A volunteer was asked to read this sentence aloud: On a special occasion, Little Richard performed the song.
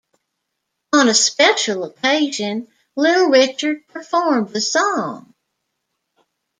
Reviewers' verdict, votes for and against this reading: accepted, 2, 0